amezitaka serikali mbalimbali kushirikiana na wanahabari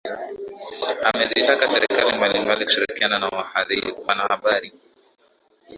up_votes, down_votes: 2, 1